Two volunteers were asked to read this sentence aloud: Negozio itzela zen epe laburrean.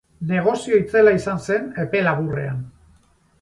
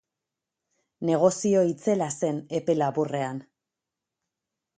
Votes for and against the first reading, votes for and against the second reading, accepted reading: 0, 2, 4, 0, second